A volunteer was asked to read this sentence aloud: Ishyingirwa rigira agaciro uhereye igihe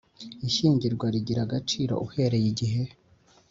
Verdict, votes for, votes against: accepted, 3, 0